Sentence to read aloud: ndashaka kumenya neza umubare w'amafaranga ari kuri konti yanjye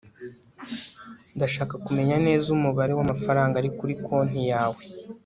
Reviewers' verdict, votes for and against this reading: rejected, 0, 2